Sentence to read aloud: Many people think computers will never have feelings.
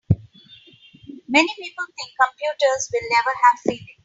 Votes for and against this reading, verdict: 2, 3, rejected